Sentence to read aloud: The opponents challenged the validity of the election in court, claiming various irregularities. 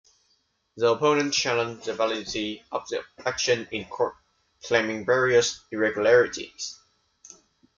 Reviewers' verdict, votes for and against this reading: accepted, 2, 0